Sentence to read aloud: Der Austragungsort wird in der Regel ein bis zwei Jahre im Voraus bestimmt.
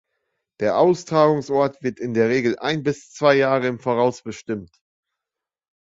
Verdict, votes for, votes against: accepted, 2, 0